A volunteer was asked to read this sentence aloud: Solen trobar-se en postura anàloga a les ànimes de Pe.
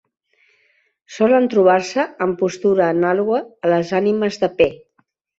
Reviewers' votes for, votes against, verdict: 1, 2, rejected